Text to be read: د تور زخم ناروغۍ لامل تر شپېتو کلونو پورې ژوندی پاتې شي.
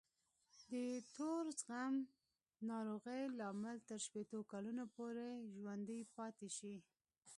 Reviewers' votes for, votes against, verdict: 0, 2, rejected